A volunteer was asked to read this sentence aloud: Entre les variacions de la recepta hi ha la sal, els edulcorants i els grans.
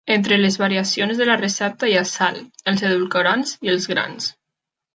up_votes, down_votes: 0, 2